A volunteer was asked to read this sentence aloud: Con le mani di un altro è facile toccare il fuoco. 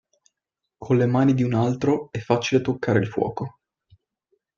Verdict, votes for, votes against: accepted, 2, 0